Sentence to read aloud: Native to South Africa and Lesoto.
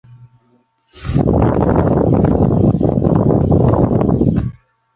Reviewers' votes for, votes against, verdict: 0, 2, rejected